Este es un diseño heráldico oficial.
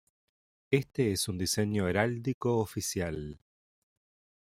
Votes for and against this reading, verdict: 2, 0, accepted